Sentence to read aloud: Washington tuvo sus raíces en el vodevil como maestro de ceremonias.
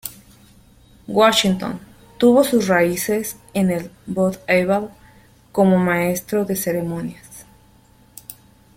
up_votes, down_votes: 0, 2